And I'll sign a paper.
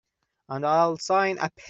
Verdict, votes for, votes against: rejected, 0, 2